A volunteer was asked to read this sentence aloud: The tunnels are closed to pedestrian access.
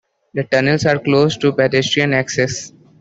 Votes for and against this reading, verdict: 3, 0, accepted